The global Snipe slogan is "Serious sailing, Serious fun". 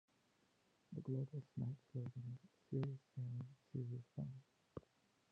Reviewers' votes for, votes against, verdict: 0, 2, rejected